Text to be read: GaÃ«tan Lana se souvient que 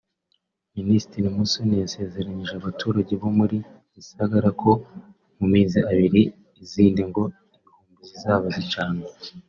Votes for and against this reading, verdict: 0, 2, rejected